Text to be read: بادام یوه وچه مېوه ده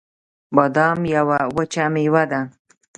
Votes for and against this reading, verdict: 2, 0, accepted